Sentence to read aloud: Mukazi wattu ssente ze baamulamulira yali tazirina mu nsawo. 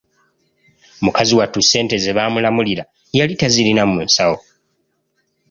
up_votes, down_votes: 2, 0